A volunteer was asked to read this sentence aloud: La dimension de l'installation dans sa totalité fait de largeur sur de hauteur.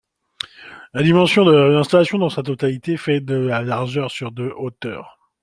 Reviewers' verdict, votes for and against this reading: rejected, 1, 2